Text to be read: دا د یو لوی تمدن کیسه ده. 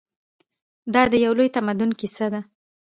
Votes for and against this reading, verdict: 2, 0, accepted